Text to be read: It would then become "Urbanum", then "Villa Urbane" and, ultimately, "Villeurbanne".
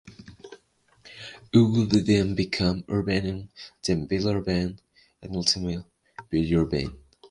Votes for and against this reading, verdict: 0, 2, rejected